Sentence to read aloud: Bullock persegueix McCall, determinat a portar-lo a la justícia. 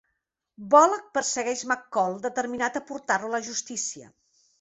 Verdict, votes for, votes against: accepted, 3, 0